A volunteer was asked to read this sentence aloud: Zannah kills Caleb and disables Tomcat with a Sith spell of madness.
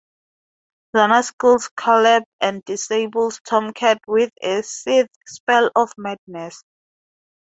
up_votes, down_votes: 2, 0